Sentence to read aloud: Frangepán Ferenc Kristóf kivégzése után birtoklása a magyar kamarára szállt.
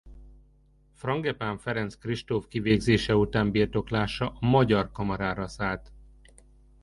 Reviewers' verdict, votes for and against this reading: rejected, 1, 2